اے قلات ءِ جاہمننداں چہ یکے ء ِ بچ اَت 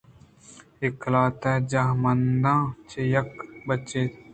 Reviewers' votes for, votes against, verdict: 2, 0, accepted